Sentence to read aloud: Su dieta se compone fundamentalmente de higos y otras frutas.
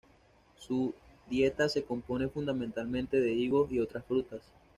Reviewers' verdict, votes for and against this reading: rejected, 1, 2